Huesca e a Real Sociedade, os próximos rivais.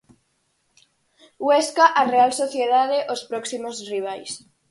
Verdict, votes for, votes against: rejected, 0, 4